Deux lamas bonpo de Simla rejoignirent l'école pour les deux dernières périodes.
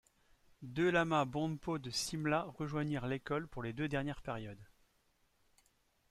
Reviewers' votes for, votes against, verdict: 2, 0, accepted